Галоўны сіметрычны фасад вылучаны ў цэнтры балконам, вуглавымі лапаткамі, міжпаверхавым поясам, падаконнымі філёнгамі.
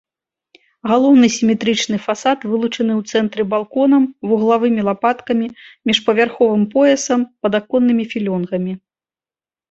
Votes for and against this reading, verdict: 0, 2, rejected